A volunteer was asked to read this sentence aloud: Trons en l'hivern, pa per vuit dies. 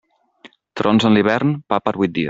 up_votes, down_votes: 1, 2